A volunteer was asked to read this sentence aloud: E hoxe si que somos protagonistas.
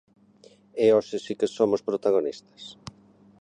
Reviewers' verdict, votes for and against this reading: accepted, 2, 0